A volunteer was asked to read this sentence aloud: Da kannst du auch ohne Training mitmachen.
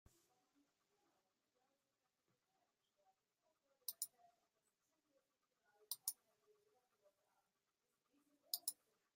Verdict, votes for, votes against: rejected, 0, 2